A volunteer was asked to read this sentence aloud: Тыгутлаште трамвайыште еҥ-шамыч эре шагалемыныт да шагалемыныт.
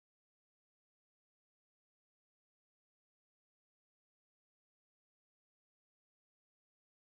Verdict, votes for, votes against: rejected, 1, 2